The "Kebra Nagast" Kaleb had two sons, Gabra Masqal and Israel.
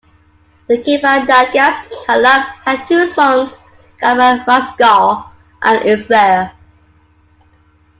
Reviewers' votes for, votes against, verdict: 2, 1, accepted